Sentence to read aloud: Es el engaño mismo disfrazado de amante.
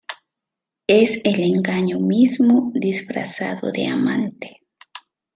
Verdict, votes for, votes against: accepted, 2, 0